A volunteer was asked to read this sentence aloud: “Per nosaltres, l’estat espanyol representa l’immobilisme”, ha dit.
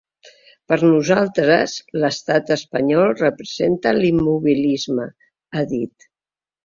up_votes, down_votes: 2, 0